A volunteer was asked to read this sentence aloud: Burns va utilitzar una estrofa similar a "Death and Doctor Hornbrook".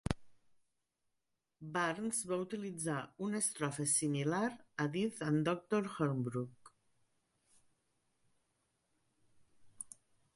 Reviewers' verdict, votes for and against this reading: rejected, 1, 2